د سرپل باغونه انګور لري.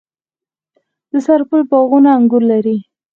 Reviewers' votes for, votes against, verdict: 4, 0, accepted